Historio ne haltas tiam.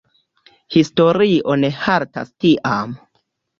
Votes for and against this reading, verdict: 2, 1, accepted